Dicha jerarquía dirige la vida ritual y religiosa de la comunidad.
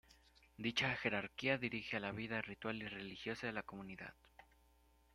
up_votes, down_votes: 2, 0